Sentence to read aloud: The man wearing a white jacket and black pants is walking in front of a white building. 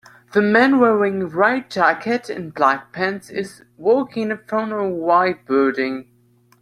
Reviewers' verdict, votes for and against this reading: accepted, 2, 1